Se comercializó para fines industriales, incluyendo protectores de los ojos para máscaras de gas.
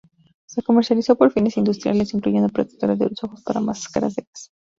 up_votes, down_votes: 0, 2